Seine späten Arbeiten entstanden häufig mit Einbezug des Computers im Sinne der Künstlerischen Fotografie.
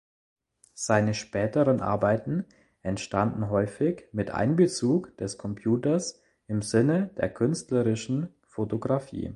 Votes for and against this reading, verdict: 1, 2, rejected